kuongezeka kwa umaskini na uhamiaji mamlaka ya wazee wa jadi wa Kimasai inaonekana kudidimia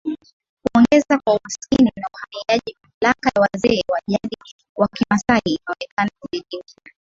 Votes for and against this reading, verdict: 10, 6, accepted